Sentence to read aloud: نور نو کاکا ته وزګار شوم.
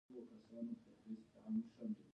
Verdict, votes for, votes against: rejected, 1, 2